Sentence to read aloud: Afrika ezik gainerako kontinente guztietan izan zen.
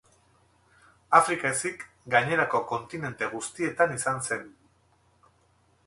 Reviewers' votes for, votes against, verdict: 4, 0, accepted